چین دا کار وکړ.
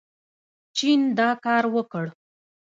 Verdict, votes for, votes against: rejected, 0, 2